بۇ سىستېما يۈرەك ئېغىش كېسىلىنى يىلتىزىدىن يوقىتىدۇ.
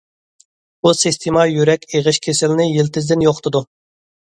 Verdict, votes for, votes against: accepted, 2, 0